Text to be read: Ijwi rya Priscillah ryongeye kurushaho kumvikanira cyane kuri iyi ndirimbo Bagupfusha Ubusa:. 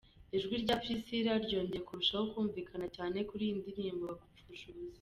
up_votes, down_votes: 2, 3